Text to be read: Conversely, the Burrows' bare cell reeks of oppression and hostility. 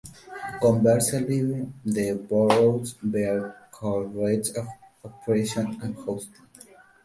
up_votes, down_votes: 0, 2